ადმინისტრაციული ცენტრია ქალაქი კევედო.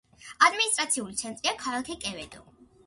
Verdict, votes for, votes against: accepted, 2, 1